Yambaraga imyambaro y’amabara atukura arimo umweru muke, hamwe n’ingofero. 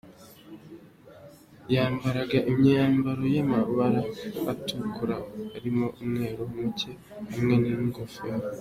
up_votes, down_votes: 2, 1